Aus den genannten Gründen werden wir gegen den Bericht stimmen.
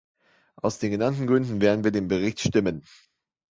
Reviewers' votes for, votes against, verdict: 0, 2, rejected